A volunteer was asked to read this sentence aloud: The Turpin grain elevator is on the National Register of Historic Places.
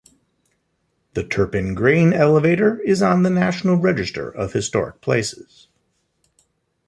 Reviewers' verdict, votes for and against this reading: accepted, 2, 1